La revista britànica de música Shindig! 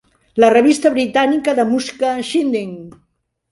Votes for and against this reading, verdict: 0, 2, rejected